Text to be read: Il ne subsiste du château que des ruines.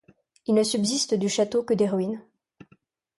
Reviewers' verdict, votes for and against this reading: accepted, 2, 0